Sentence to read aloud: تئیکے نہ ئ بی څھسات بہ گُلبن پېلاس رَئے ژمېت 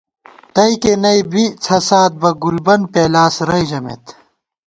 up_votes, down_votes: 2, 0